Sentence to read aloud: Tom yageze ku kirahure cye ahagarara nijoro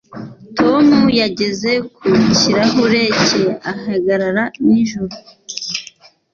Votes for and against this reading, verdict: 2, 0, accepted